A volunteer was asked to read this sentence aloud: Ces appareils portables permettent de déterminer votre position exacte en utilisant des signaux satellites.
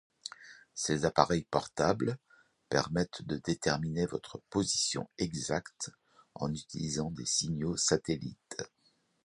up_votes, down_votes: 2, 0